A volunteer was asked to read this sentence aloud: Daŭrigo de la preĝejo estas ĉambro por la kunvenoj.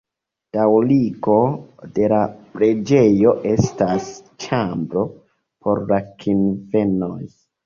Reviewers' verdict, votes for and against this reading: rejected, 1, 2